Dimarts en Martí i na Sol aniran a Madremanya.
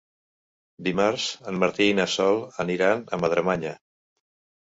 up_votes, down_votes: 4, 0